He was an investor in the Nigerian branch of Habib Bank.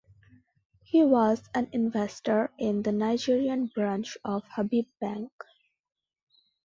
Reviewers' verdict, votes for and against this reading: accepted, 3, 0